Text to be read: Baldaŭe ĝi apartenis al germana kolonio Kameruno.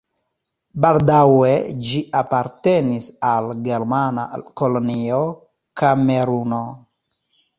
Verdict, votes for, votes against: accepted, 2, 0